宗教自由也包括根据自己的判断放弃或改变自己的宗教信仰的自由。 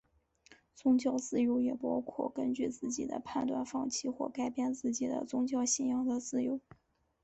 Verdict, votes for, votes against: accepted, 4, 0